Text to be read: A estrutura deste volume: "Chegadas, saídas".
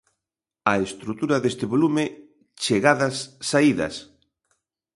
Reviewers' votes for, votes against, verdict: 2, 0, accepted